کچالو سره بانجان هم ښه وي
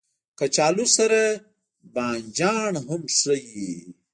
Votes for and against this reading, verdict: 1, 2, rejected